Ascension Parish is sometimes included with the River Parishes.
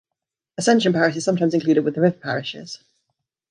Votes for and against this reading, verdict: 0, 2, rejected